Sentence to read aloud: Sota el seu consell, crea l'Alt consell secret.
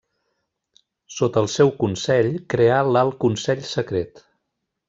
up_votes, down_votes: 1, 2